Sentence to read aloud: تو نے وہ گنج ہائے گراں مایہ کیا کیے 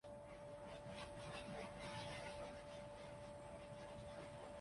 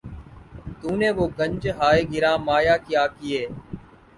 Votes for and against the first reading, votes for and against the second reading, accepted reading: 1, 2, 15, 0, second